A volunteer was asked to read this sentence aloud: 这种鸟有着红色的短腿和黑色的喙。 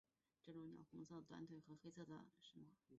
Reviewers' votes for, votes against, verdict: 2, 0, accepted